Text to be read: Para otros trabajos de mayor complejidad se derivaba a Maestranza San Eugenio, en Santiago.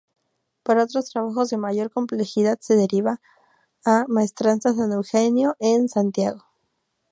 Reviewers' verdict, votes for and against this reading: rejected, 0, 4